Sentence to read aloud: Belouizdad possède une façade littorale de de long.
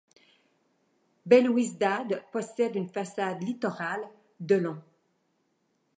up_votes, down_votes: 0, 2